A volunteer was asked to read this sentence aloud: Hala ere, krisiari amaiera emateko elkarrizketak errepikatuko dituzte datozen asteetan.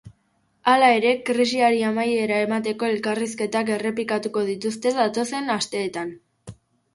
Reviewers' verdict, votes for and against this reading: accepted, 2, 0